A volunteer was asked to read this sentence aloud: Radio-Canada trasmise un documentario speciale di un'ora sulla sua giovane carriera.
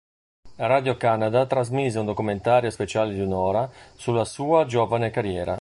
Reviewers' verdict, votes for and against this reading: accepted, 2, 0